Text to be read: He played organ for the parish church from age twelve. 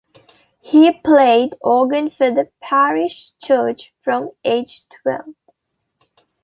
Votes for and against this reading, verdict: 2, 0, accepted